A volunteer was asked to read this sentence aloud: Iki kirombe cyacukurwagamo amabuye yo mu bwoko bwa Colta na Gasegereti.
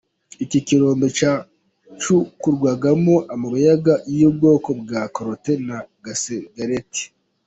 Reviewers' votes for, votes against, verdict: 0, 2, rejected